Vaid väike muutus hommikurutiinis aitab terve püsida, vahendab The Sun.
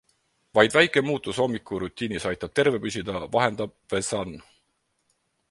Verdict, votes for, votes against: accepted, 4, 0